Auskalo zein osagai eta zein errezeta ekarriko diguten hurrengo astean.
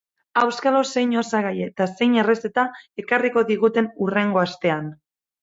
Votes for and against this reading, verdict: 6, 0, accepted